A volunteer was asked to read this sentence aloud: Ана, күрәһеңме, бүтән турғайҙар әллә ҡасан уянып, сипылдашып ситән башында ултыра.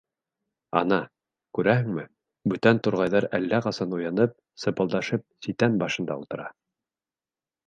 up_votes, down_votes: 3, 1